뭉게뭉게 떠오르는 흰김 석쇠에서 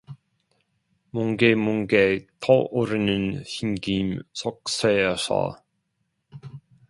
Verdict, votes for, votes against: accepted, 2, 1